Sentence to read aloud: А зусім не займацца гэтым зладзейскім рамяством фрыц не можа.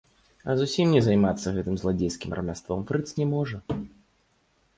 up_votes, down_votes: 1, 2